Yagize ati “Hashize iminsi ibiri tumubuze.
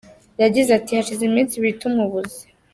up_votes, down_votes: 2, 0